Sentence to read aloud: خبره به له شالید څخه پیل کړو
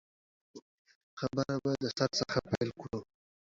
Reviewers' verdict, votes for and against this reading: rejected, 0, 2